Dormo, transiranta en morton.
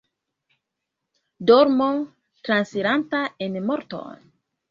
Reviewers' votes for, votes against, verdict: 2, 3, rejected